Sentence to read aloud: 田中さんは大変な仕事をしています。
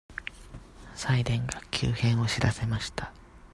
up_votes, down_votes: 0, 2